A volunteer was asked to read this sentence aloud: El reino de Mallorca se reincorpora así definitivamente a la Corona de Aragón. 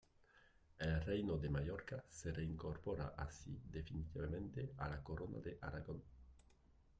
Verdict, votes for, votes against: rejected, 0, 2